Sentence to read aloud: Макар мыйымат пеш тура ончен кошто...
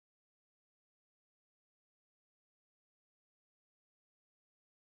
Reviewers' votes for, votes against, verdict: 1, 2, rejected